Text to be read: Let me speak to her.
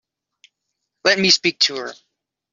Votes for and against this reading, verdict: 2, 0, accepted